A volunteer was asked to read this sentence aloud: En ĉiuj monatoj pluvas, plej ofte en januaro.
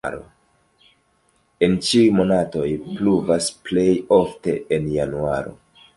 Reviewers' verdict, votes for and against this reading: rejected, 1, 2